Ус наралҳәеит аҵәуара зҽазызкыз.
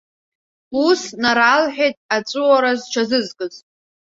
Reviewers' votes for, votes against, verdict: 1, 2, rejected